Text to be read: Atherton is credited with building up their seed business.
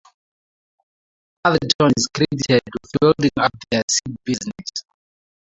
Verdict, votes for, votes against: rejected, 0, 4